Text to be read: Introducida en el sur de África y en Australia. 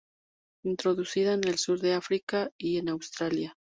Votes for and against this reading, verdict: 2, 0, accepted